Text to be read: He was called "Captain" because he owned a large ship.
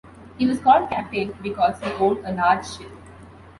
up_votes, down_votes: 2, 0